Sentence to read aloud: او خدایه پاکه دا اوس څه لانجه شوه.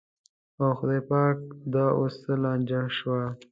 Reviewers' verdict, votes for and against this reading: accepted, 2, 0